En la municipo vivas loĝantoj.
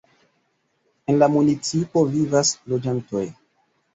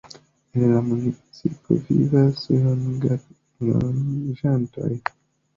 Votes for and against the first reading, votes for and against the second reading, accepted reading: 2, 0, 1, 2, first